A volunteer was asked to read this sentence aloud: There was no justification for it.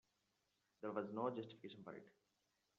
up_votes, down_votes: 0, 2